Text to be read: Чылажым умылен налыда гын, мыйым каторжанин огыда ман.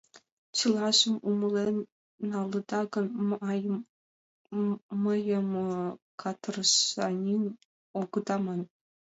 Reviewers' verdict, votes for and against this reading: rejected, 0, 2